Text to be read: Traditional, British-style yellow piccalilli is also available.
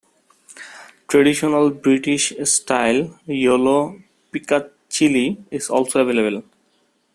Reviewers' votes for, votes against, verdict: 0, 2, rejected